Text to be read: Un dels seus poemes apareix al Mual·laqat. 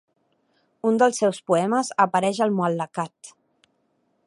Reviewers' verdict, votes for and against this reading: accepted, 2, 0